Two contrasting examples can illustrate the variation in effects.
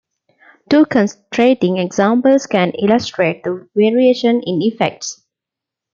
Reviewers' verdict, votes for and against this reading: rejected, 0, 2